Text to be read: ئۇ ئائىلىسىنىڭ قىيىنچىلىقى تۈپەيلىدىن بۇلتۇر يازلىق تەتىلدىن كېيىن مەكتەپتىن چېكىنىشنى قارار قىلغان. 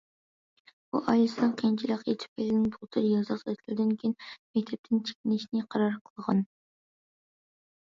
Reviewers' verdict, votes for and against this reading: rejected, 1, 2